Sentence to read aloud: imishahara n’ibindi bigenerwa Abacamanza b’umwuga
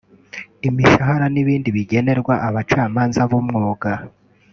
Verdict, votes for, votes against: accepted, 2, 0